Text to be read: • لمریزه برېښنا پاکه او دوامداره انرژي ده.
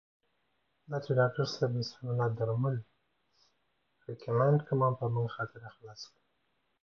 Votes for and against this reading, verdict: 1, 2, rejected